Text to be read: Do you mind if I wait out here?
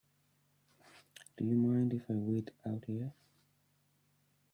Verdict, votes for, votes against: rejected, 0, 2